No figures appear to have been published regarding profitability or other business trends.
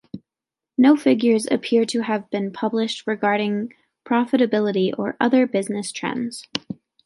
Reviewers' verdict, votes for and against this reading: accepted, 2, 0